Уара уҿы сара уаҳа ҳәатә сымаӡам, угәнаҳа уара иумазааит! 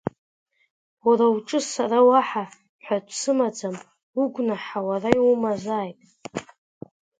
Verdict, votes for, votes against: accepted, 2, 1